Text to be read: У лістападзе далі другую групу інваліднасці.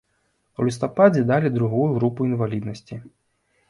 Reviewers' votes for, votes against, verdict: 2, 0, accepted